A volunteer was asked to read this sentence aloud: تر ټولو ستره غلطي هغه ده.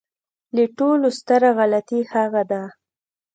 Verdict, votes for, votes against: accepted, 2, 0